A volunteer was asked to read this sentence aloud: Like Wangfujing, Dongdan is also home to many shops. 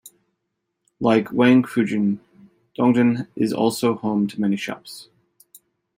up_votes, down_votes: 2, 0